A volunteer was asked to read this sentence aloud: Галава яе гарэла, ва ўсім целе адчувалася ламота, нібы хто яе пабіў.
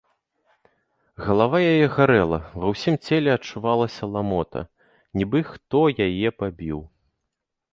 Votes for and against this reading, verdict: 2, 0, accepted